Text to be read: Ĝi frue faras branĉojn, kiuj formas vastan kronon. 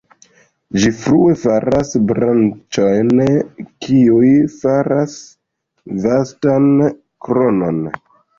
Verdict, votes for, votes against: rejected, 0, 2